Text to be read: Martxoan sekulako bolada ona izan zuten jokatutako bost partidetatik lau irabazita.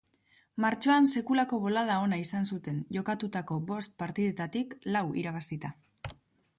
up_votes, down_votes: 2, 0